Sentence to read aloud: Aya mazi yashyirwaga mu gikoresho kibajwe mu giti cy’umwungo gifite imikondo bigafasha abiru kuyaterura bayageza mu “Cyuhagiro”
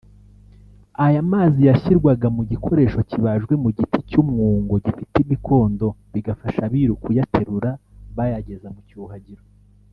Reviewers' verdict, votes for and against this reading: rejected, 1, 2